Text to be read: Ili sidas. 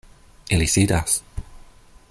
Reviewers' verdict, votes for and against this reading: accepted, 2, 0